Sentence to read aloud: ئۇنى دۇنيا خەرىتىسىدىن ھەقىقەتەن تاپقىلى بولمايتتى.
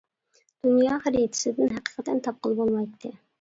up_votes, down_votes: 0, 2